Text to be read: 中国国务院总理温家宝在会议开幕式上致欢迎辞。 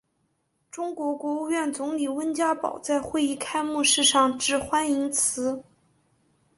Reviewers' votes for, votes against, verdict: 5, 0, accepted